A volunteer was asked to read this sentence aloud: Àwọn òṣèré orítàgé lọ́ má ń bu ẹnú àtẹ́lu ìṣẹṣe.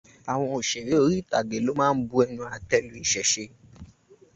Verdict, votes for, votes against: accepted, 2, 0